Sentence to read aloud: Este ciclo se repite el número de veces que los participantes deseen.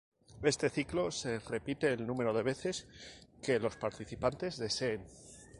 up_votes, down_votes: 2, 0